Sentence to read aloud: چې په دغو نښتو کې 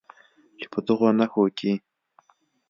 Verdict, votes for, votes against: accepted, 2, 0